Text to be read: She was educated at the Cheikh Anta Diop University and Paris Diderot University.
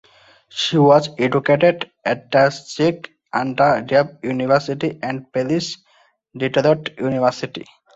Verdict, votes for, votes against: rejected, 0, 2